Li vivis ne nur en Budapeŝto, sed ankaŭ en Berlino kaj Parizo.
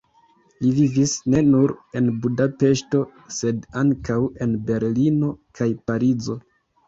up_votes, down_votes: 2, 0